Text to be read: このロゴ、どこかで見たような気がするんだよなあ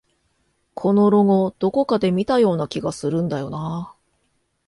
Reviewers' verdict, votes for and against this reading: accepted, 2, 0